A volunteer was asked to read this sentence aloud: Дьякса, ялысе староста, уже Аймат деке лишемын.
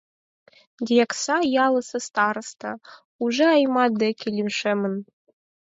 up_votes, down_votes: 4, 0